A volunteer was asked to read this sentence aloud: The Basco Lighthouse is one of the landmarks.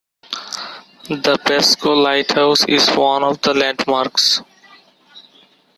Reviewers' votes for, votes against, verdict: 2, 0, accepted